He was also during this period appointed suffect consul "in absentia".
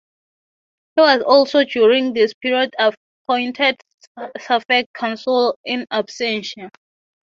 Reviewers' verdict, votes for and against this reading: accepted, 6, 0